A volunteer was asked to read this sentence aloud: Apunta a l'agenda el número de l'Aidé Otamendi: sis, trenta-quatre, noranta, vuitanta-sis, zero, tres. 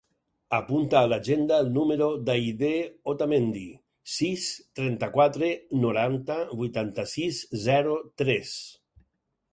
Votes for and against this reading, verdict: 2, 4, rejected